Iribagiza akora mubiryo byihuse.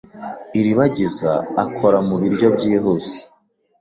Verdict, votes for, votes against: accepted, 3, 0